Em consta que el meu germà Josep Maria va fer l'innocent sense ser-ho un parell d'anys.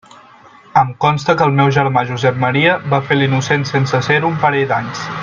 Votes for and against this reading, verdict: 1, 2, rejected